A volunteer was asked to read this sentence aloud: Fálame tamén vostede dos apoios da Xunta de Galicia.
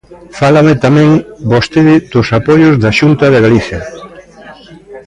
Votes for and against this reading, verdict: 1, 2, rejected